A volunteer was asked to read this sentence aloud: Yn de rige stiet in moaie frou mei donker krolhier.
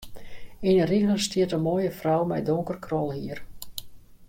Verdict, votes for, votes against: accepted, 2, 0